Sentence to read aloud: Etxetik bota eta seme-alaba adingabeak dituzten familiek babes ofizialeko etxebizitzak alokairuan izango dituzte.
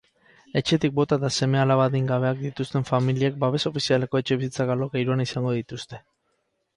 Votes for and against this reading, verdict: 6, 0, accepted